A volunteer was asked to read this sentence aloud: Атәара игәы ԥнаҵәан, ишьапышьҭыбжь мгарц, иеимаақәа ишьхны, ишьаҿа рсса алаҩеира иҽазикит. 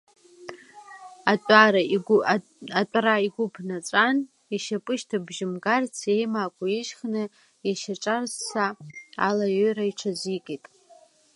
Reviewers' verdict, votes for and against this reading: rejected, 1, 2